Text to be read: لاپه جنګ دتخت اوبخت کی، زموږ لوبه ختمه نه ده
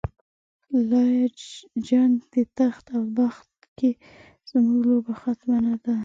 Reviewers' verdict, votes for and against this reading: rejected, 0, 2